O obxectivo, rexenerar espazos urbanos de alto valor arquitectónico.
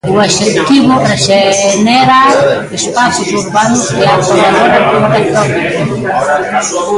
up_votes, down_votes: 0, 2